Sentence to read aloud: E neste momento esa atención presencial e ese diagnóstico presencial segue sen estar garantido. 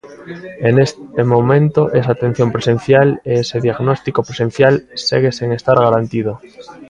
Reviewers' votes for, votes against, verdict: 0, 2, rejected